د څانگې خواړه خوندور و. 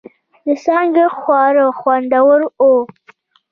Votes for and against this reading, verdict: 2, 0, accepted